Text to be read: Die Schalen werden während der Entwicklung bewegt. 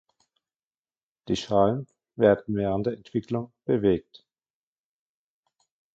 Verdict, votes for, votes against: rejected, 0, 2